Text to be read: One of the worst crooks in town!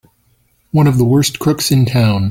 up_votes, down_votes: 3, 0